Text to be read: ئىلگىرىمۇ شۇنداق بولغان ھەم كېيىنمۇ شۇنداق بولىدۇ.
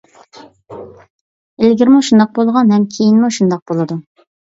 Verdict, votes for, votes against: accepted, 2, 0